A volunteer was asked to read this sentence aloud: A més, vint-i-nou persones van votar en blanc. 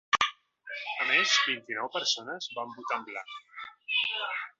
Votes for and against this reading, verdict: 1, 2, rejected